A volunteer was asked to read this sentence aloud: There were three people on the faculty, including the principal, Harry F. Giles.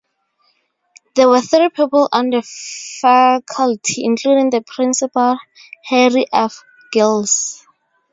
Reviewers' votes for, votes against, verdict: 0, 2, rejected